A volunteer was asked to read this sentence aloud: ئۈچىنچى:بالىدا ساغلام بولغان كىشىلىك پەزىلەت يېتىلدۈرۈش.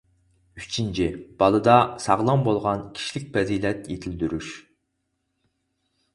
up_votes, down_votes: 4, 0